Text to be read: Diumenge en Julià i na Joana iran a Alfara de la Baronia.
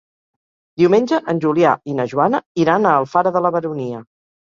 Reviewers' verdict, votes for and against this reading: accepted, 3, 0